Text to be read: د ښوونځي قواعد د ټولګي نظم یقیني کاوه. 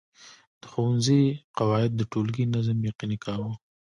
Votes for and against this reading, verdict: 0, 2, rejected